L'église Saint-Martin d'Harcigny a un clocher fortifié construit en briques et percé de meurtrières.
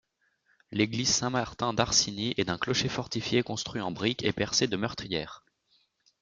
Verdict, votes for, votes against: rejected, 0, 2